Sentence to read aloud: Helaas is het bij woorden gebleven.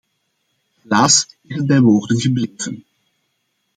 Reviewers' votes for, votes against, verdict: 1, 2, rejected